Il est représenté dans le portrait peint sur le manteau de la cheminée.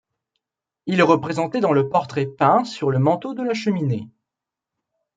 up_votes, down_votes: 2, 0